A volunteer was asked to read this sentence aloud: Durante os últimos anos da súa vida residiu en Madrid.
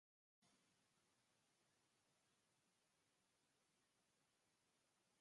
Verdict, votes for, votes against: rejected, 0, 4